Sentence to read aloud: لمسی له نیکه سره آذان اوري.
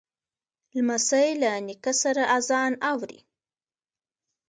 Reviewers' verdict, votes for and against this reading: rejected, 1, 2